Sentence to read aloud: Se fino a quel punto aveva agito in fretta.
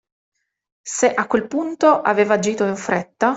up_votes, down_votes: 0, 2